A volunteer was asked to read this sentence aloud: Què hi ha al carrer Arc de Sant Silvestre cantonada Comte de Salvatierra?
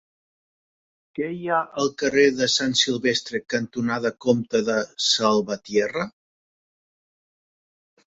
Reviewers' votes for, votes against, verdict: 0, 2, rejected